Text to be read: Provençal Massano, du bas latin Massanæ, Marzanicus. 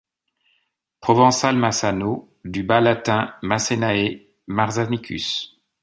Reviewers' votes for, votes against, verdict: 1, 2, rejected